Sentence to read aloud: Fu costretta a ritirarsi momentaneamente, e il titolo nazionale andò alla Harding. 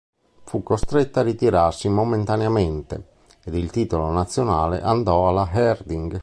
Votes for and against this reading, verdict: 1, 2, rejected